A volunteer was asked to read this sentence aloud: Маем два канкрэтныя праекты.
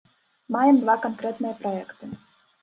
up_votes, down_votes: 2, 0